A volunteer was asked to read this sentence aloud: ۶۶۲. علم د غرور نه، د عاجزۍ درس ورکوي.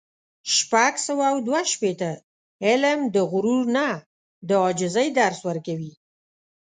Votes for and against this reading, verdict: 0, 2, rejected